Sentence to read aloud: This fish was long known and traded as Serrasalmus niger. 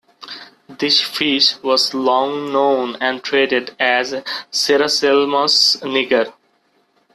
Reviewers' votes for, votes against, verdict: 1, 2, rejected